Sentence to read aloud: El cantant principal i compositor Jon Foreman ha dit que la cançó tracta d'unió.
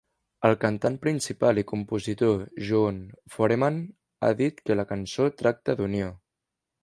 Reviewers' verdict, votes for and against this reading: accepted, 2, 0